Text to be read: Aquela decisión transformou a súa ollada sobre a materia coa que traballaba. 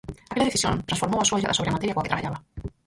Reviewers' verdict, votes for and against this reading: rejected, 0, 4